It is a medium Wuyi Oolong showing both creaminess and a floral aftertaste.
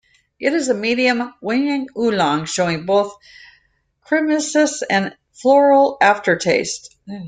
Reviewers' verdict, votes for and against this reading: rejected, 0, 2